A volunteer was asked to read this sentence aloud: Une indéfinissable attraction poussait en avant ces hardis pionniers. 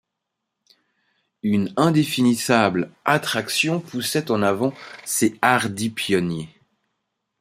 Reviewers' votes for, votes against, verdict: 4, 0, accepted